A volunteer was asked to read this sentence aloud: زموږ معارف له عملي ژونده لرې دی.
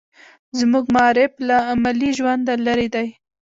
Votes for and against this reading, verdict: 1, 2, rejected